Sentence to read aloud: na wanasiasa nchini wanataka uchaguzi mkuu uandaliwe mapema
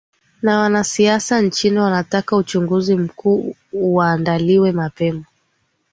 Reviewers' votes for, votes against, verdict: 2, 0, accepted